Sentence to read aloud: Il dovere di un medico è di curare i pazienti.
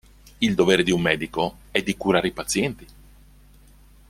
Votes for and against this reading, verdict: 1, 2, rejected